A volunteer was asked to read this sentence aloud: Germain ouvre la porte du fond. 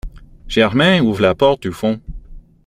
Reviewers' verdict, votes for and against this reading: accepted, 2, 1